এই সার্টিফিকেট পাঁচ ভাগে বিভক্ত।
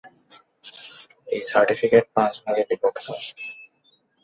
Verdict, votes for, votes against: accepted, 2, 0